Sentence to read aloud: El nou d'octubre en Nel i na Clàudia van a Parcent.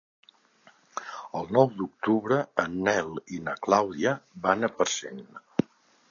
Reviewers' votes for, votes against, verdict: 2, 0, accepted